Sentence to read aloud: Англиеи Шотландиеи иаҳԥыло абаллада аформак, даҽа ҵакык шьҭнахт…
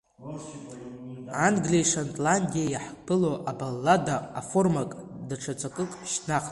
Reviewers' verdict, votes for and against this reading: accepted, 2, 0